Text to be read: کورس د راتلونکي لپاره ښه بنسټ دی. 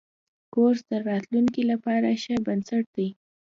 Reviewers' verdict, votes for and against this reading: accepted, 2, 0